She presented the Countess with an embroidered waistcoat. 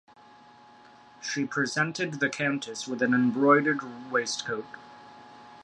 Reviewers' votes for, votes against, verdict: 2, 0, accepted